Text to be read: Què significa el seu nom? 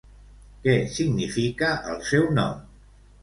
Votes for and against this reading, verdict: 1, 2, rejected